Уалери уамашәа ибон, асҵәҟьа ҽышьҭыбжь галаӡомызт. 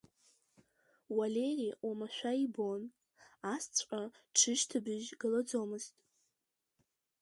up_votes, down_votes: 1, 2